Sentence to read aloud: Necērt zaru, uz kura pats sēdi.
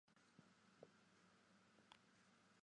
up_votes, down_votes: 0, 2